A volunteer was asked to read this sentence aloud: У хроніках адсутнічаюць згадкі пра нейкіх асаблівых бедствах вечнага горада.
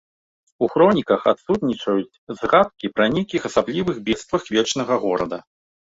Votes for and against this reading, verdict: 2, 0, accepted